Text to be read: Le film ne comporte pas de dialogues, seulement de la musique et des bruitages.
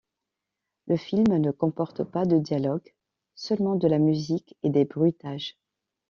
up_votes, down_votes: 2, 0